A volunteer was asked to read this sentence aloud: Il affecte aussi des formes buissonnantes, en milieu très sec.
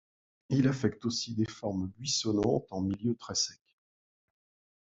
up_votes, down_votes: 2, 0